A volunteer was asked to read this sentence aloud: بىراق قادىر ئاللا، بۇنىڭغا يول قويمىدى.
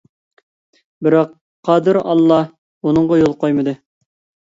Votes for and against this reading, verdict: 2, 0, accepted